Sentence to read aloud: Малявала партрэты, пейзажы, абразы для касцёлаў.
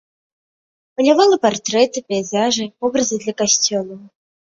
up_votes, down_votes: 0, 2